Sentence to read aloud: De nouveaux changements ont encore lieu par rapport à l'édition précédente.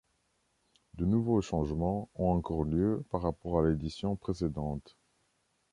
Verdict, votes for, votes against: accepted, 2, 0